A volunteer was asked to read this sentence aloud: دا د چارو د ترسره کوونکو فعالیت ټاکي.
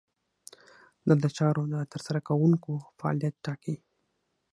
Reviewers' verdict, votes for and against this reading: accepted, 6, 0